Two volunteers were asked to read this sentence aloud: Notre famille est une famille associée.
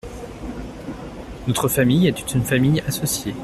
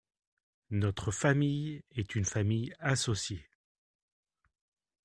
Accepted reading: second